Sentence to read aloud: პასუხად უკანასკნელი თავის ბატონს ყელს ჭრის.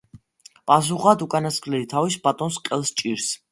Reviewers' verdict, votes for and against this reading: accepted, 2, 1